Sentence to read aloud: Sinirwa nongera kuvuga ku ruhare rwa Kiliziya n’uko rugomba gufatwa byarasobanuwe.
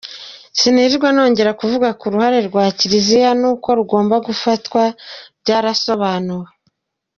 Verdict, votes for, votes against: accepted, 2, 1